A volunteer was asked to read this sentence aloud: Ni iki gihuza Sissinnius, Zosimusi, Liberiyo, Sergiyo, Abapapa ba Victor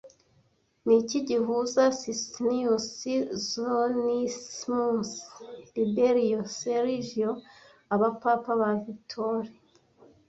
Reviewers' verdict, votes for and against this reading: rejected, 1, 2